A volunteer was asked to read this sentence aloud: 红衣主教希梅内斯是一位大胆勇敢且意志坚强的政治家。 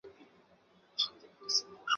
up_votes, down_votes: 1, 2